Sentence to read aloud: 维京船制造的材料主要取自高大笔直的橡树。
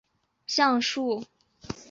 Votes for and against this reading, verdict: 1, 3, rejected